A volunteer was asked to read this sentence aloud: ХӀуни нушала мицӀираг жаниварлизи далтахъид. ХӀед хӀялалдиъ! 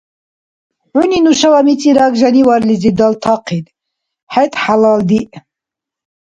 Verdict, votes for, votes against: accepted, 2, 0